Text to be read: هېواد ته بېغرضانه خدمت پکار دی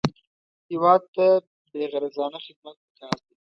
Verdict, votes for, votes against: accepted, 2, 0